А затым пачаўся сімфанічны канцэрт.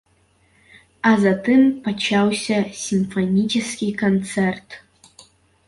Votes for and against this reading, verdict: 0, 2, rejected